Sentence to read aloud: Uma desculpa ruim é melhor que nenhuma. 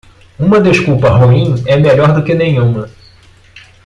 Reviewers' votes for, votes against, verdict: 1, 2, rejected